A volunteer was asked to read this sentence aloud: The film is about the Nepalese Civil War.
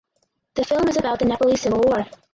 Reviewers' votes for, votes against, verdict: 2, 4, rejected